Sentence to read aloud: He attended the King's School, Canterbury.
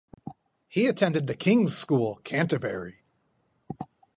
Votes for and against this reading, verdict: 2, 2, rejected